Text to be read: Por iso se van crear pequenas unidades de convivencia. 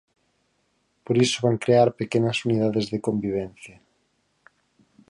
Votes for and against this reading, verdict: 2, 4, rejected